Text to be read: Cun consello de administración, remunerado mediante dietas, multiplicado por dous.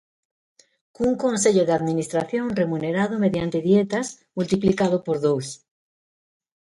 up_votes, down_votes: 2, 0